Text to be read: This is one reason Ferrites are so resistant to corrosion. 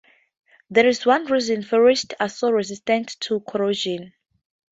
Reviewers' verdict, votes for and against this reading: rejected, 2, 2